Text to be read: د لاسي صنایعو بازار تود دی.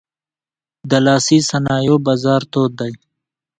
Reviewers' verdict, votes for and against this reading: accepted, 2, 0